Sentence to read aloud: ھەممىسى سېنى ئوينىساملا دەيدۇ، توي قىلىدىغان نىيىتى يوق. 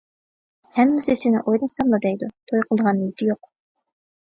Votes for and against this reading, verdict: 0, 2, rejected